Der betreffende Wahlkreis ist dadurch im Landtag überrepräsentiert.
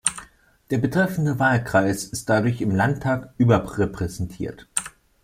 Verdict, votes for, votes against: rejected, 1, 2